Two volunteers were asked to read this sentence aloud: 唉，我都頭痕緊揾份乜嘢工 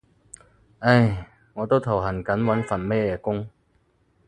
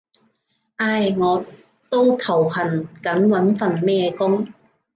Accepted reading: first